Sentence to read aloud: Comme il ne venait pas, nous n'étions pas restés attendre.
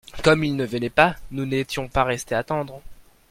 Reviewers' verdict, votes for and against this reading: accepted, 2, 0